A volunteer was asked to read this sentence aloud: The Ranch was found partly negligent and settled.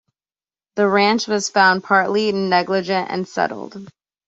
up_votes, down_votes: 2, 0